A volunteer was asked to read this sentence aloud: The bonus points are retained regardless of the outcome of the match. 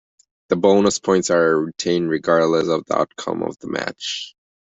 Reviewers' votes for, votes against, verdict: 2, 0, accepted